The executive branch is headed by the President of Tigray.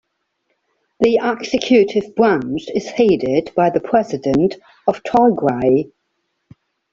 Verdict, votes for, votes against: accepted, 2, 1